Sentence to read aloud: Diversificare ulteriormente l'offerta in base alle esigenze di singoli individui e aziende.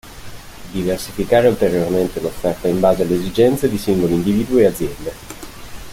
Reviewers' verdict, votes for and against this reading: accepted, 2, 1